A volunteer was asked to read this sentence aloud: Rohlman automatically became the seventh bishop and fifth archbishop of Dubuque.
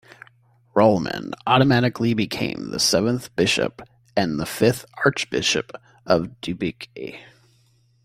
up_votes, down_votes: 1, 2